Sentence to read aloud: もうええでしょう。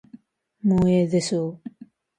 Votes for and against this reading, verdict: 1, 2, rejected